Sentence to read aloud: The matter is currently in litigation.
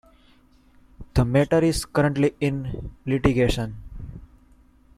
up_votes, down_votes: 2, 0